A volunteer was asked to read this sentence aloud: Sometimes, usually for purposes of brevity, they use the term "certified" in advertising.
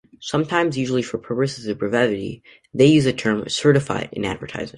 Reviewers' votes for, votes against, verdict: 2, 1, accepted